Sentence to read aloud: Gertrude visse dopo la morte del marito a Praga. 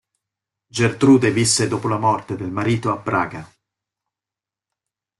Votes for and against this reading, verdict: 2, 0, accepted